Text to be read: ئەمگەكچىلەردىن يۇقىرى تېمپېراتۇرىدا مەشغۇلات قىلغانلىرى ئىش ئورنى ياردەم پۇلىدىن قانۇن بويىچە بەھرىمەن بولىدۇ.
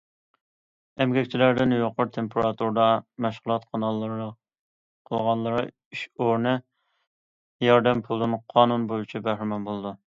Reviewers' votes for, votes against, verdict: 0, 2, rejected